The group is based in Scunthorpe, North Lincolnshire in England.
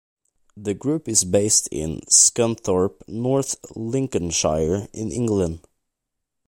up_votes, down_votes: 2, 0